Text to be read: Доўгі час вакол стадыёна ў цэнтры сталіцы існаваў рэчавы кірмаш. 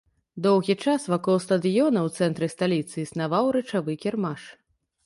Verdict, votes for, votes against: rejected, 0, 2